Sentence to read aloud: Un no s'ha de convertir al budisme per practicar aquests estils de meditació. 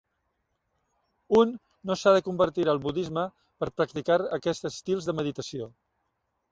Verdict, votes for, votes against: accepted, 2, 0